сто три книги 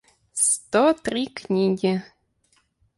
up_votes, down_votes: 4, 0